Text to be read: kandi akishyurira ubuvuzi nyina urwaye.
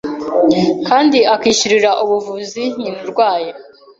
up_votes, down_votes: 2, 0